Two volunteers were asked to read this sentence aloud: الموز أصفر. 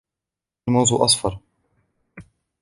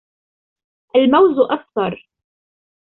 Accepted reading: second